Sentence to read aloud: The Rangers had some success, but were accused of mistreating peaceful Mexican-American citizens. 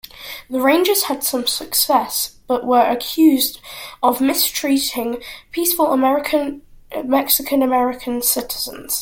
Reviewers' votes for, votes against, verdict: 0, 2, rejected